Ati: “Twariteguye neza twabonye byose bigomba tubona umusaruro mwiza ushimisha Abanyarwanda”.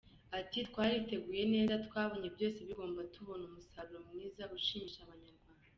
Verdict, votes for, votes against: rejected, 1, 2